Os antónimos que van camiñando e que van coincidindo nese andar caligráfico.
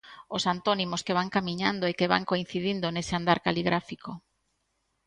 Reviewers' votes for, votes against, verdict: 2, 0, accepted